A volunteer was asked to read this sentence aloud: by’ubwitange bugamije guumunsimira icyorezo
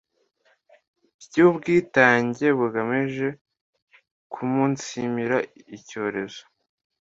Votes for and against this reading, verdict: 2, 0, accepted